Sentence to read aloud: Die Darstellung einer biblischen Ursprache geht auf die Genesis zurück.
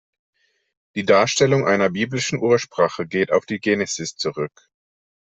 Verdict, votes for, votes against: accepted, 2, 0